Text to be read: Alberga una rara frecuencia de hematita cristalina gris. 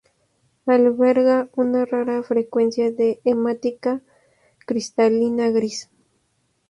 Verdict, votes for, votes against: accepted, 2, 0